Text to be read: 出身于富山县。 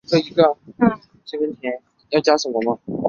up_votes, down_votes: 1, 5